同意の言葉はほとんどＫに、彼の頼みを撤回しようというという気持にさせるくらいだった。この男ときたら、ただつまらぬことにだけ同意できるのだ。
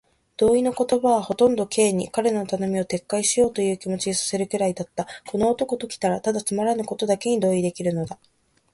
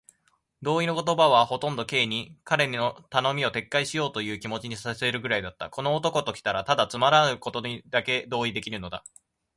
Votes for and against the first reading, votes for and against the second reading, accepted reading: 2, 2, 2, 0, second